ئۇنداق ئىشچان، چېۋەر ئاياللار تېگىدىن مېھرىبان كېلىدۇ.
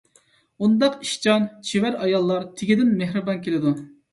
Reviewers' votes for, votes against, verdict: 2, 0, accepted